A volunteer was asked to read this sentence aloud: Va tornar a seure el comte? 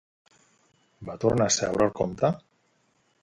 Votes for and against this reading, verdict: 2, 0, accepted